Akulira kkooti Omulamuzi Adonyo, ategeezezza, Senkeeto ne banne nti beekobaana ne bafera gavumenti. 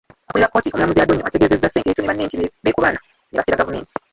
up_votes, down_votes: 1, 2